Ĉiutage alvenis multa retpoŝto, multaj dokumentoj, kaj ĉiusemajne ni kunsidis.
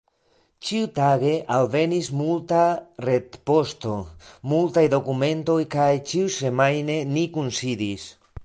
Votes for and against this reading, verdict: 3, 4, rejected